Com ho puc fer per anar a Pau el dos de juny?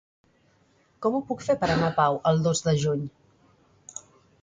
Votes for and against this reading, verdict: 3, 0, accepted